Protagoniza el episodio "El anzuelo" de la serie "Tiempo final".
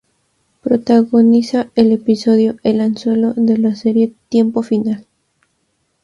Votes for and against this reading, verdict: 0, 2, rejected